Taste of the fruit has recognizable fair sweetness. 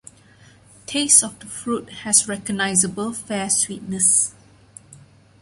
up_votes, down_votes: 2, 0